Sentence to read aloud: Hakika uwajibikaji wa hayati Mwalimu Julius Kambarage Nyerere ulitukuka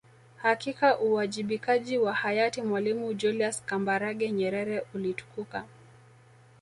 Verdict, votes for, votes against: rejected, 1, 2